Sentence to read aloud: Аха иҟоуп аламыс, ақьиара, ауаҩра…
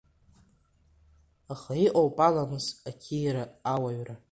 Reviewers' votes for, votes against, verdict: 0, 2, rejected